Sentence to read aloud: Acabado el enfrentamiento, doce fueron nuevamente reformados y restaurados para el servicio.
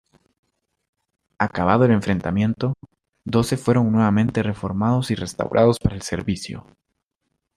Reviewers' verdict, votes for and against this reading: accepted, 2, 0